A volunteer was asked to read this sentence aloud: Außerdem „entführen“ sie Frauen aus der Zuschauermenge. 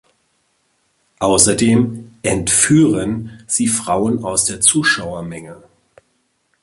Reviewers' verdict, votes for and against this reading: accepted, 2, 0